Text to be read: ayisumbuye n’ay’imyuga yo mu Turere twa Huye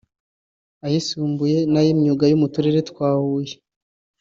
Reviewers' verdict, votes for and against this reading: accepted, 2, 0